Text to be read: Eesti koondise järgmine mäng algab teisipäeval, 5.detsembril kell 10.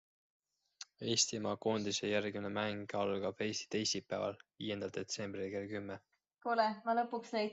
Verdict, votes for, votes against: rejected, 0, 2